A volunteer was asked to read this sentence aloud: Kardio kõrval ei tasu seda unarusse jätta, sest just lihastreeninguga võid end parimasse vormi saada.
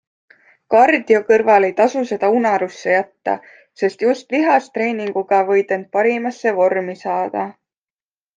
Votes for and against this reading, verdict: 2, 0, accepted